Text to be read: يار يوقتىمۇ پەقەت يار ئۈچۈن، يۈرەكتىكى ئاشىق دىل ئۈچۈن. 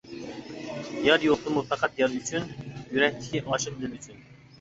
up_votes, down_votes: 0, 3